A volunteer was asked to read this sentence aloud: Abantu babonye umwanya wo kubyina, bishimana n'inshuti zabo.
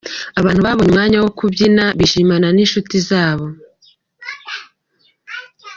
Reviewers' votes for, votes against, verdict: 2, 0, accepted